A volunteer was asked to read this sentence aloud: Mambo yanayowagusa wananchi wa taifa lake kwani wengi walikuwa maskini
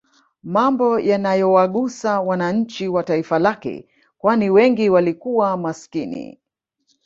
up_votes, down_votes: 2, 0